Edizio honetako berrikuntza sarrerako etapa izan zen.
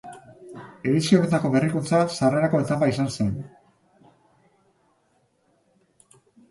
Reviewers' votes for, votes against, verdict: 2, 0, accepted